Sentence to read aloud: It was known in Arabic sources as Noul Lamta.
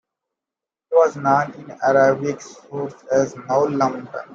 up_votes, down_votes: 0, 2